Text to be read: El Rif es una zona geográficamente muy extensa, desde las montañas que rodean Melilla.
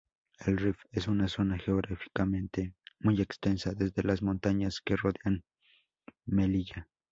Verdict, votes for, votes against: accepted, 2, 0